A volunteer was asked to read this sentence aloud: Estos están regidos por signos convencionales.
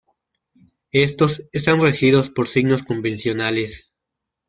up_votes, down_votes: 2, 1